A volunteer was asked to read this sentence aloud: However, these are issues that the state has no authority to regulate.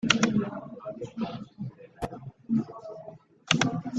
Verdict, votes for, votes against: rejected, 0, 2